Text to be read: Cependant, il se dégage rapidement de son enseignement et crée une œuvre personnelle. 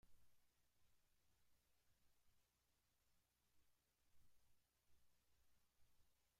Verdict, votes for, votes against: rejected, 1, 2